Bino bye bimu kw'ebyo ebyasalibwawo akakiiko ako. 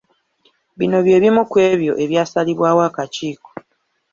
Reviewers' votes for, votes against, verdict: 1, 2, rejected